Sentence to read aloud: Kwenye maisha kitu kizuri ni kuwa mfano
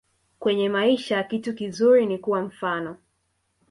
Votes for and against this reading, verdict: 0, 2, rejected